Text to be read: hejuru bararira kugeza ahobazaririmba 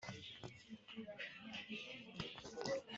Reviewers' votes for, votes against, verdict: 1, 2, rejected